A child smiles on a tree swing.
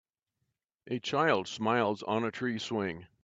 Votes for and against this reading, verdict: 3, 0, accepted